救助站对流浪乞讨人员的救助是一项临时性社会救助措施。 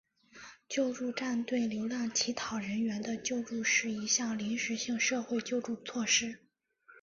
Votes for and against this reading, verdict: 2, 1, accepted